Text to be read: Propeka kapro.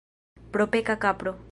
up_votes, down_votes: 2, 0